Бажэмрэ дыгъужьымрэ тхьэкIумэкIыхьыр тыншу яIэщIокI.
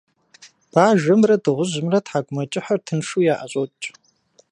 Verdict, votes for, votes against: accepted, 2, 0